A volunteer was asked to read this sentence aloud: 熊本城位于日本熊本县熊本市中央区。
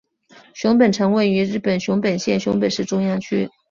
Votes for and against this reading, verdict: 6, 0, accepted